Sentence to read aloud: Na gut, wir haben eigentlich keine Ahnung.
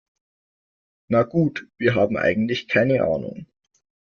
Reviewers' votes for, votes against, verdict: 2, 0, accepted